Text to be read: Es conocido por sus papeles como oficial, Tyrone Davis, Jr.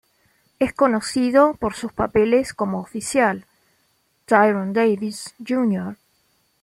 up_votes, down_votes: 2, 0